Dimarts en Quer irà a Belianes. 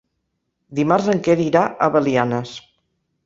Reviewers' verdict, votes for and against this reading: accepted, 3, 0